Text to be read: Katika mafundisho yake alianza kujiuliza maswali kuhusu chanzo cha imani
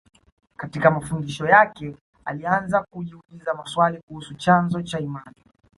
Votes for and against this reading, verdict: 2, 0, accepted